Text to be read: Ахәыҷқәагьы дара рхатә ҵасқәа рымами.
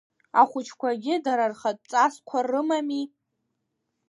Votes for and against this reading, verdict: 2, 0, accepted